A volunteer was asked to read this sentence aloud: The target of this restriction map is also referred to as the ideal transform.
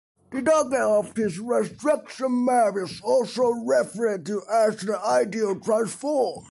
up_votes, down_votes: 2, 0